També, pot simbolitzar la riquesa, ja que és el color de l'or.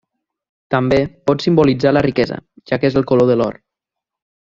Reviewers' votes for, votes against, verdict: 3, 0, accepted